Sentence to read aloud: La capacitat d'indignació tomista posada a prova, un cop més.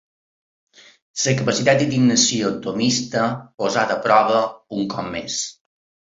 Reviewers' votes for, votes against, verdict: 0, 2, rejected